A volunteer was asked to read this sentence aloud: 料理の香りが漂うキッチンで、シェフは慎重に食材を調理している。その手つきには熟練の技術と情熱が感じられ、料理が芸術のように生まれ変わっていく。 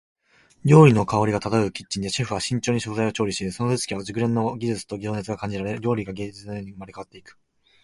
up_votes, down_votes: 1, 2